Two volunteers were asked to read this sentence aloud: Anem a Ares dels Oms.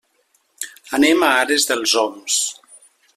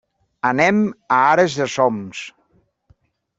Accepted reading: first